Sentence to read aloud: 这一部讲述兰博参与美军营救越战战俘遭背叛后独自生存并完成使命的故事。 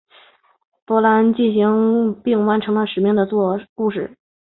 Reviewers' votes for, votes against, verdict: 1, 3, rejected